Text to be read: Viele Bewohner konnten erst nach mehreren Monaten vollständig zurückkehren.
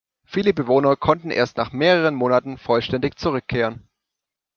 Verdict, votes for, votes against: accepted, 2, 0